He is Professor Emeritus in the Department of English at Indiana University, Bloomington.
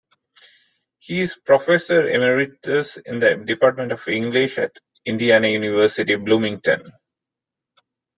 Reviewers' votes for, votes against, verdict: 2, 1, accepted